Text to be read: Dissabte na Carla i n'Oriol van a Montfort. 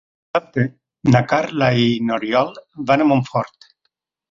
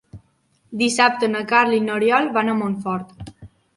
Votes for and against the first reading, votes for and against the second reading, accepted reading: 2, 4, 5, 0, second